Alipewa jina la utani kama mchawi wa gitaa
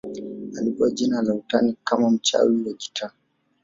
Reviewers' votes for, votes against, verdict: 3, 0, accepted